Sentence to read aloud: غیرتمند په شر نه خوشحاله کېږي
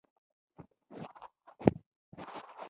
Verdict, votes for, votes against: rejected, 0, 2